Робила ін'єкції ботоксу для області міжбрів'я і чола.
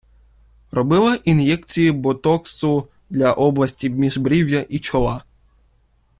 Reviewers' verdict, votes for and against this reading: rejected, 0, 2